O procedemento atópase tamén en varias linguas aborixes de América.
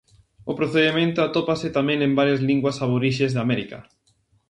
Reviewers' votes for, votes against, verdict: 4, 0, accepted